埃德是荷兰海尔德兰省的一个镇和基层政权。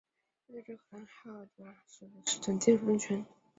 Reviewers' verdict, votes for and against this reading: rejected, 0, 3